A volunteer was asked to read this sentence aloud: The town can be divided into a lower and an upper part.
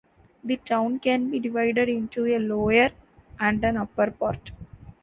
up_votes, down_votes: 2, 0